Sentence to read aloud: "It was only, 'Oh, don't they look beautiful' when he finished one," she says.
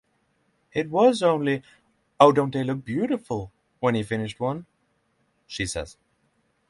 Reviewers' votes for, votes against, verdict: 6, 0, accepted